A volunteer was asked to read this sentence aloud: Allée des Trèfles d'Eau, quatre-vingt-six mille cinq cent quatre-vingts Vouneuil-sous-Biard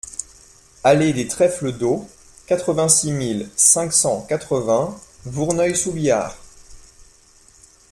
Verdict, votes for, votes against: rejected, 1, 2